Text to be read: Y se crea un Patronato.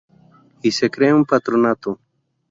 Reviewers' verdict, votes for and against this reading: accepted, 2, 0